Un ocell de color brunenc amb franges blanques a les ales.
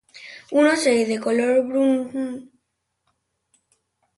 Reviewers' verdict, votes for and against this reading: rejected, 0, 2